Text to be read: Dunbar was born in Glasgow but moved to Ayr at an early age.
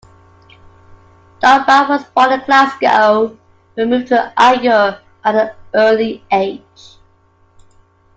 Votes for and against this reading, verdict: 2, 1, accepted